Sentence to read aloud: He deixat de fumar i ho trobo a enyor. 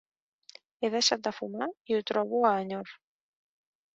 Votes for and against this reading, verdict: 2, 0, accepted